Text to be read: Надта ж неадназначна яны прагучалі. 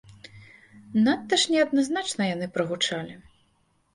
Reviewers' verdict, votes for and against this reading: accepted, 2, 0